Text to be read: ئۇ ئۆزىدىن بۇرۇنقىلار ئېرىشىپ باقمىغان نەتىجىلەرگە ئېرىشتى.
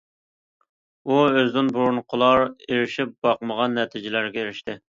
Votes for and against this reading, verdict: 2, 0, accepted